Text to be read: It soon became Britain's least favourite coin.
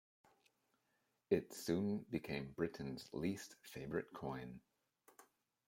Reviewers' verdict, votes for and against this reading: accepted, 3, 0